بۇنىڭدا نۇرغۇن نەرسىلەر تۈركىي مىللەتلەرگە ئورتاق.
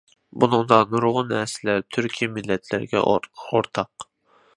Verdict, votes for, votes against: rejected, 1, 2